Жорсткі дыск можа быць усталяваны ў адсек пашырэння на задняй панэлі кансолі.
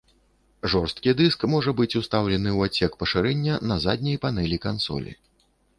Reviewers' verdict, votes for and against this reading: rejected, 0, 2